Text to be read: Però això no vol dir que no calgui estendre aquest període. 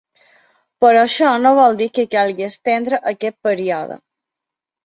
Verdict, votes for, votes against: rejected, 1, 2